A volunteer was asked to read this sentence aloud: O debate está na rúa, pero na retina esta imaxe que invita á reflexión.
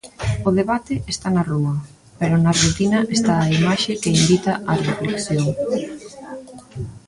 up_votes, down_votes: 0, 2